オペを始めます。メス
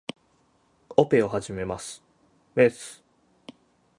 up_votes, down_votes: 6, 0